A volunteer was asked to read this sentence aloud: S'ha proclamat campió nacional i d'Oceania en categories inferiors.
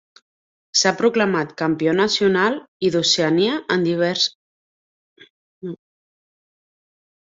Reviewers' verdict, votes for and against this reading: rejected, 0, 2